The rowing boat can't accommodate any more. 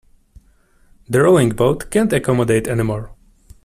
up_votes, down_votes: 2, 0